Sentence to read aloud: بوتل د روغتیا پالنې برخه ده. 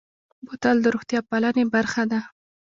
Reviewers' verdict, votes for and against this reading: rejected, 1, 2